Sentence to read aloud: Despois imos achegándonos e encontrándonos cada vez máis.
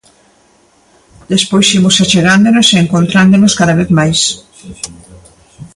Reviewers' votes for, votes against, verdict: 2, 0, accepted